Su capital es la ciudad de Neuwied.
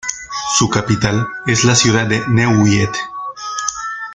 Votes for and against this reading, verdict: 1, 2, rejected